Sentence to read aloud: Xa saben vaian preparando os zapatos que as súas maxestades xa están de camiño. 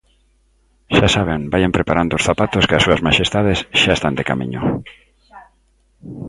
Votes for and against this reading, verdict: 1, 2, rejected